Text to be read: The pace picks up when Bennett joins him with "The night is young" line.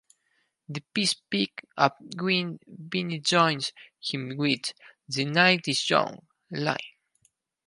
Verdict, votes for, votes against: rejected, 0, 4